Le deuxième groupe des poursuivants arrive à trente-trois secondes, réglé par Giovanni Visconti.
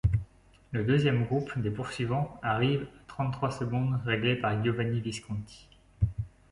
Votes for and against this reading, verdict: 1, 2, rejected